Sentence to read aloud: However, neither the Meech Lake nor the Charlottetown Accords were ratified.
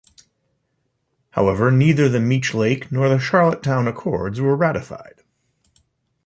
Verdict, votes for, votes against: rejected, 0, 2